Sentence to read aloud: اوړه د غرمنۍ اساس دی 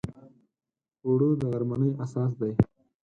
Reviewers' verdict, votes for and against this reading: accepted, 4, 0